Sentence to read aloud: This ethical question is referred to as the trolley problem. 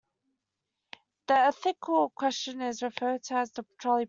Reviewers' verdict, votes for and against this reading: rejected, 0, 2